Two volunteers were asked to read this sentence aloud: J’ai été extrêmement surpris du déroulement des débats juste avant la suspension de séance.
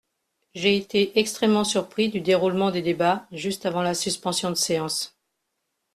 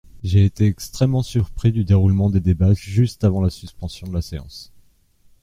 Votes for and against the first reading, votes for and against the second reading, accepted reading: 2, 0, 0, 2, first